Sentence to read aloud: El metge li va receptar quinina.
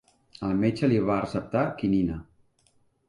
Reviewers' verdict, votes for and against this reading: accepted, 3, 0